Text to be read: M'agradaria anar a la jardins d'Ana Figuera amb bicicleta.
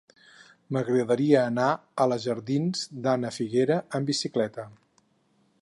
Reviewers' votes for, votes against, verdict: 4, 0, accepted